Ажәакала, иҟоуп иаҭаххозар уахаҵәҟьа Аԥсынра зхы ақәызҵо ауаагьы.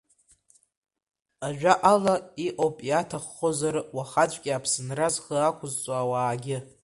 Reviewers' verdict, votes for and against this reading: accepted, 2, 1